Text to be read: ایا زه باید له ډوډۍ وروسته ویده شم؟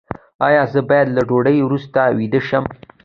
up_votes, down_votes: 2, 0